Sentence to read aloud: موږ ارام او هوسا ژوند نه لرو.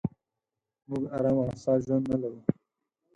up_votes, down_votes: 2, 4